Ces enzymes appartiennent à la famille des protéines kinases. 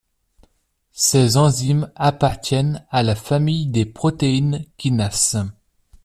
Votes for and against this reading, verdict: 1, 2, rejected